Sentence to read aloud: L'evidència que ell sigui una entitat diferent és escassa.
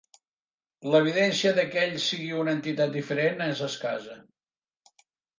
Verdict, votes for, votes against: rejected, 0, 2